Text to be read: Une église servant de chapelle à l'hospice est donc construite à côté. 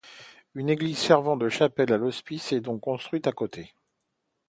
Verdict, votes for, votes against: accepted, 2, 0